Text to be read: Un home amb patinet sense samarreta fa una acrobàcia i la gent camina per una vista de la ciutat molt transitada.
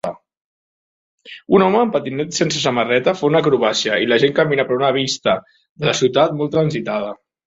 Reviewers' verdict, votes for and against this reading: accepted, 6, 0